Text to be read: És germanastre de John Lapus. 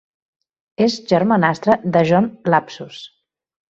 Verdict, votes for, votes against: rejected, 0, 2